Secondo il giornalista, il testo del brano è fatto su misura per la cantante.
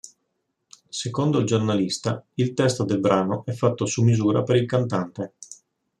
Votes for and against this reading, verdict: 1, 3, rejected